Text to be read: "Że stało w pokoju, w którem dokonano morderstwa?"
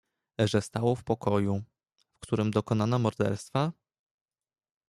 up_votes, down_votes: 2, 1